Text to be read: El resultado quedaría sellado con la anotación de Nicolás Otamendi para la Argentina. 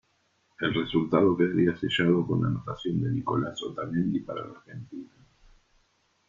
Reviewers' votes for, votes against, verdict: 2, 1, accepted